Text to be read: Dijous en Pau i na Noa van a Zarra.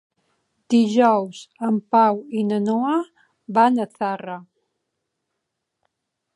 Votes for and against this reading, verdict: 2, 0, accepted